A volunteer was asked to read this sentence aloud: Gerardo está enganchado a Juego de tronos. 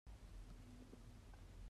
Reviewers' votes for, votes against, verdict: 0, 2, rejected